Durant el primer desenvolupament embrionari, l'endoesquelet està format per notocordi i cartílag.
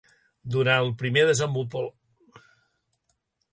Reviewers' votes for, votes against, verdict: 0, 2, rejected